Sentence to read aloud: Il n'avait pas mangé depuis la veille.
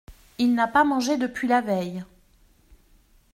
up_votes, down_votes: 1, 2